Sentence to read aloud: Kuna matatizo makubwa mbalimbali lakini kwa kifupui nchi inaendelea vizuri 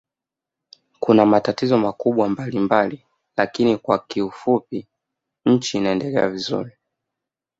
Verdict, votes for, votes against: accepted, 2, 1